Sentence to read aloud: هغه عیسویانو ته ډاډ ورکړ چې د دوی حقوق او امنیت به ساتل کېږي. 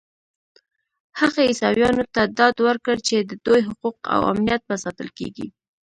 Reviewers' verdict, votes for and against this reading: accepted, 2, 0